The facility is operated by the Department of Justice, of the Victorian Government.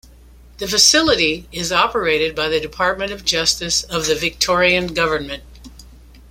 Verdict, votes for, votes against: accepted, 2, 0